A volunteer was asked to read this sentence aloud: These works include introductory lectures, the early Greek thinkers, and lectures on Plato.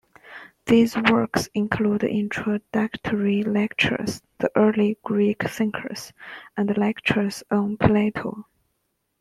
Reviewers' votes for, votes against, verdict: 2, 1, accepted